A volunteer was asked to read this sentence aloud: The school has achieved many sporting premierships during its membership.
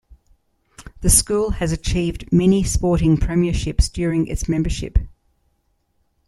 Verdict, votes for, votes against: accepted, 2, 0